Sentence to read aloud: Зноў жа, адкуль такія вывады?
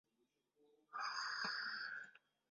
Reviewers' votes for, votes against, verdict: 0, 2, rejected